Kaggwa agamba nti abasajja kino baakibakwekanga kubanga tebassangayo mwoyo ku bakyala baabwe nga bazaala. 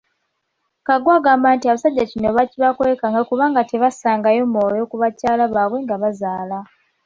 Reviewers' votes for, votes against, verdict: 3, 0, accepted